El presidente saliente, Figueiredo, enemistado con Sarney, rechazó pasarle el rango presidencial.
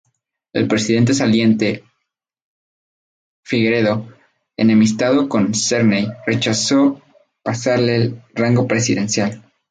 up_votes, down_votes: 0, 2